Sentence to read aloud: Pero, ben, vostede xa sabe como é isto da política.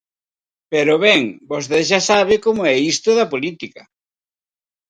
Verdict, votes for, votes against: rejected, 2, 4